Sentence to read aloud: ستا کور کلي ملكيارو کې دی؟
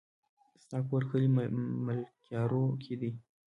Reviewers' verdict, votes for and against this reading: accepted, 2, 0